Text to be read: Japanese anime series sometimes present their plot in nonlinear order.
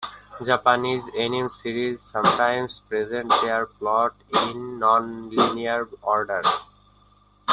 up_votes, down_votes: 0, 2